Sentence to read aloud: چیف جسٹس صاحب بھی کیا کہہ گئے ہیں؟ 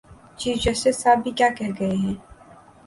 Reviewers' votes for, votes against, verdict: 2, 0, accepted